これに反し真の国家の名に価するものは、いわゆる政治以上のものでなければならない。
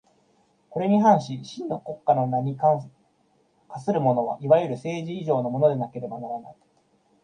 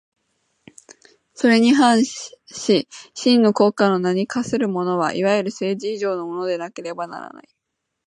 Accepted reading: second